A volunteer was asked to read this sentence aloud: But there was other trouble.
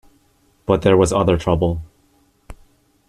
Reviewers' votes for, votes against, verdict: 1, 2, rejected